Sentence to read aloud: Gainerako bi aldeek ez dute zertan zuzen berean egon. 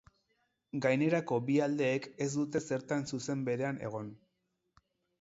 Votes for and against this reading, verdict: 4, 0, accepted